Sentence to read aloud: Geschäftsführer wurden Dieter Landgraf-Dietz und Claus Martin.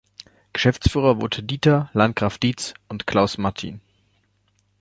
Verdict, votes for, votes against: rejected, 0, 2